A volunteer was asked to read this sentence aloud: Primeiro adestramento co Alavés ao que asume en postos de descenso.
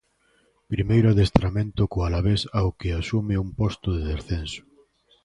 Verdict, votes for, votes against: rejected, 0, 2